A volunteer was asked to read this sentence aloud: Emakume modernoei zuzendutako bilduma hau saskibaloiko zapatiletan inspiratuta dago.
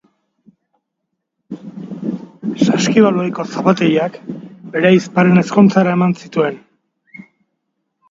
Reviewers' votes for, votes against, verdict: 0, 2, rejected